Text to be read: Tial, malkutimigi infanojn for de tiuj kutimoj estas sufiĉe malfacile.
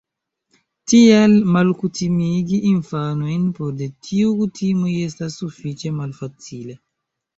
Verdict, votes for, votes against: accepted, 2, 0